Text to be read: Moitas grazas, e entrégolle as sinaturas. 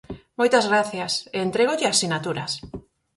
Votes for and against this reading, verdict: 2, 4, rejected